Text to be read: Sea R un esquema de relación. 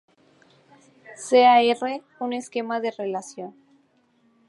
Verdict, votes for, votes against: accepted, 4, 0